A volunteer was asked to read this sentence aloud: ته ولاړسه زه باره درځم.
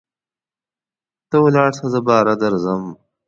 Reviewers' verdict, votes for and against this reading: accepted, 2, 0